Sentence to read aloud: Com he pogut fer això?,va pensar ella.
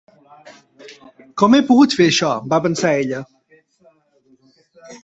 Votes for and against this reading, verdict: 2, 0, accepted